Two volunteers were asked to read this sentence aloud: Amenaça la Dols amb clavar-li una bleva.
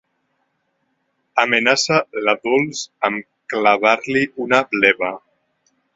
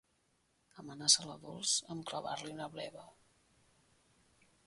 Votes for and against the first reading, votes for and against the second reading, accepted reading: 2, 1, 0, 2, first